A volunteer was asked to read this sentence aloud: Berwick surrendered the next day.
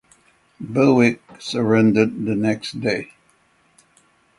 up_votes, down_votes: 6, 0